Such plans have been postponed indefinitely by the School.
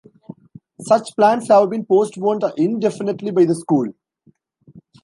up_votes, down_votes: 1, 2